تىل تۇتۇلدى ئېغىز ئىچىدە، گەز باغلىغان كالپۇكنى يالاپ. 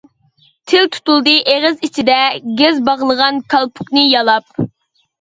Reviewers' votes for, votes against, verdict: 2, 0, accepted